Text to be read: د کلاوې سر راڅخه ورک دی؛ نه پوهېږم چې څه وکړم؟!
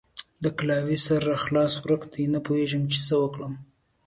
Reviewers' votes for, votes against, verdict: 2, 1, accepted